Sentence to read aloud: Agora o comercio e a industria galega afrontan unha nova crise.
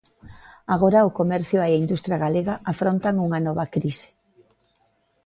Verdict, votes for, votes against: accepted, 2, 0